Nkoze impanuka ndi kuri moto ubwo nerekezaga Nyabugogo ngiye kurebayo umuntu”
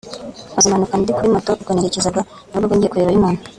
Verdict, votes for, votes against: rejected, 1, 2